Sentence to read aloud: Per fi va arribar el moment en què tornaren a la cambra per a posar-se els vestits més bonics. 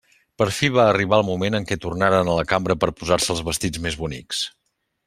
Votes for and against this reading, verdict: 2, 0, accepted